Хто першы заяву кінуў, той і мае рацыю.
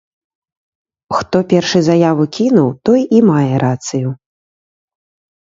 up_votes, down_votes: 3, 0